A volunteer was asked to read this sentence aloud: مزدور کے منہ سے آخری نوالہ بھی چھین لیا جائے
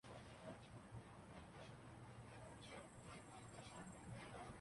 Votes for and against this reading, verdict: 0, 2, rejected